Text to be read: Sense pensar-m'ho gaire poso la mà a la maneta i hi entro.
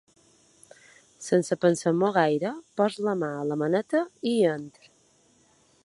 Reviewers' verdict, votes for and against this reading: accepted, 2, 0